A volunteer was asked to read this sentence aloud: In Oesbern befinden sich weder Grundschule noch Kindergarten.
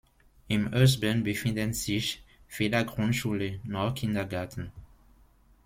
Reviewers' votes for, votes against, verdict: 1, 2, rejected